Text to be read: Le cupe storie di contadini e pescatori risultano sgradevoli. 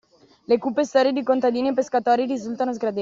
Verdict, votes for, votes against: rejected, 1, 2